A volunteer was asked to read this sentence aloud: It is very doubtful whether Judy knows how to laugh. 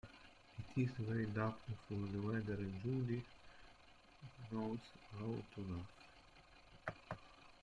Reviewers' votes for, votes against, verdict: 0, 2, rejected